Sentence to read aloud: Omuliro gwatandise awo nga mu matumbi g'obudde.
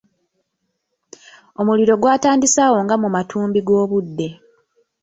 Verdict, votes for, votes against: rejected, 1, 2